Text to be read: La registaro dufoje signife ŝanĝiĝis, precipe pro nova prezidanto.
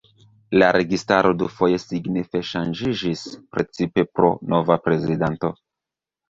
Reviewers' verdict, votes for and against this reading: rejected, 1, 2